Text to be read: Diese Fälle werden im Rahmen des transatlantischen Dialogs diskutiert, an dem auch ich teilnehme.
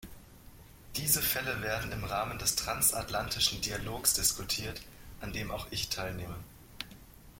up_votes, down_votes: 3, 0